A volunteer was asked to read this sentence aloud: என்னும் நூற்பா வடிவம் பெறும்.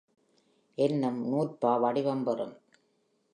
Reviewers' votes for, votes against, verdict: 3, 0, accepted